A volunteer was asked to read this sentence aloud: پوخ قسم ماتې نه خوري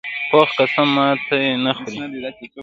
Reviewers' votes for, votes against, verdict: 0, 2, rejected